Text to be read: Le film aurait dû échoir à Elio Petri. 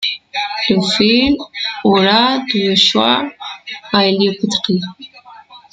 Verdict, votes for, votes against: rejected, 0, 2